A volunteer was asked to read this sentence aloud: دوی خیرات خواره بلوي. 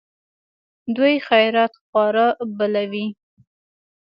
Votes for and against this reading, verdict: 1, 2, rejected